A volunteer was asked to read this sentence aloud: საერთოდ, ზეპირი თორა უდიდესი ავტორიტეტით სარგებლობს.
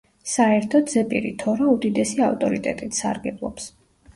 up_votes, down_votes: 2, 0